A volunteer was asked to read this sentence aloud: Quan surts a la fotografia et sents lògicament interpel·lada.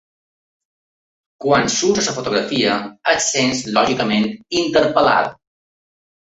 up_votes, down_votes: 1, 2